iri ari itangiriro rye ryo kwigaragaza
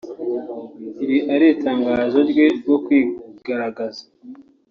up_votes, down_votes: 0, 2